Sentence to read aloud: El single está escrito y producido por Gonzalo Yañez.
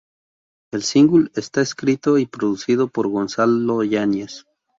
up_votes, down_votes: 4, 0